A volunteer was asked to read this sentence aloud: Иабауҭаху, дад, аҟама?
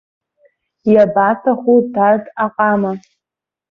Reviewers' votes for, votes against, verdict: 0, 2, rejected